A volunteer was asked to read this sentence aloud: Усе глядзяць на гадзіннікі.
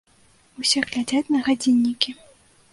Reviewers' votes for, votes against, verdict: 2, 0, accepted